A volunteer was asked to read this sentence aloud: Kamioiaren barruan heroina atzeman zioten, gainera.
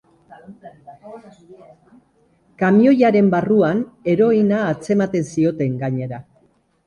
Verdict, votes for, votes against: rejected, 2, 3